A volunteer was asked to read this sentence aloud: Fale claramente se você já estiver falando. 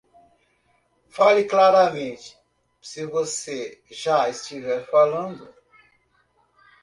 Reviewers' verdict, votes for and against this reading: rejected, 1, 2